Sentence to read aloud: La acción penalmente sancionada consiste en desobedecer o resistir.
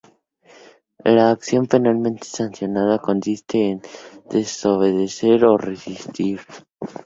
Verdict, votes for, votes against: accepted, 2, 0